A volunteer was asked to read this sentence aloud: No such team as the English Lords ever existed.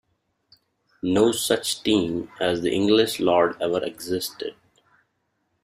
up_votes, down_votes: 2, 0